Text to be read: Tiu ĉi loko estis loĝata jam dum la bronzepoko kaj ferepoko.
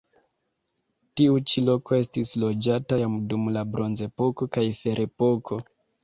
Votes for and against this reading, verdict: 3, 2, accepted